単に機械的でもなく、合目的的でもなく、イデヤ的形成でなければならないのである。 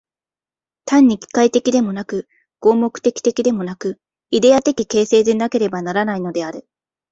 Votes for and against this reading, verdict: 2, 0, accepted